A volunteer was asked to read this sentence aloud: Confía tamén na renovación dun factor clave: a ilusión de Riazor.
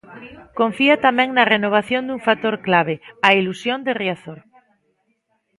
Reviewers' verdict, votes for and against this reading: accepted, 2, 1